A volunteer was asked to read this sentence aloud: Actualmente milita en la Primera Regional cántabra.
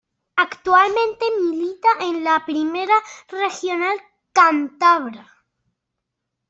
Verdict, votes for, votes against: accepted, 2, 0